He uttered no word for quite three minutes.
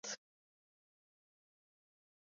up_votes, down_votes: 0, 2